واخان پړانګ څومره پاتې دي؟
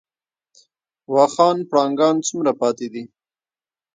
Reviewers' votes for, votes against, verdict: 1, 2, rejected